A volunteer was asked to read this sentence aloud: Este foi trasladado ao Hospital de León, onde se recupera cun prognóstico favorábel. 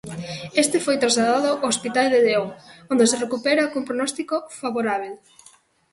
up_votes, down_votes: 1, 2